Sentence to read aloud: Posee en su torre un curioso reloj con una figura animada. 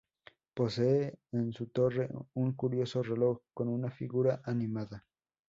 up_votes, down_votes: 0, 2